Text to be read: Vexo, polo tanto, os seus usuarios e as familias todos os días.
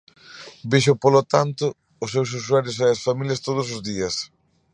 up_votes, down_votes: 2, 0